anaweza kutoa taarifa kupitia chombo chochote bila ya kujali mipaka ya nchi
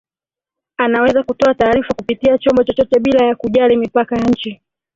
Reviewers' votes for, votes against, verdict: 2, 1, accepted